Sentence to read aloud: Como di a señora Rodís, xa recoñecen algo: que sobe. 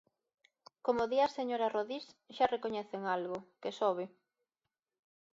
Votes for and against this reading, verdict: 2, 0, accepted